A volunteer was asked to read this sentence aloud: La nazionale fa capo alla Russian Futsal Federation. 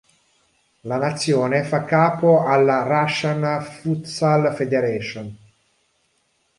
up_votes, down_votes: 0, 3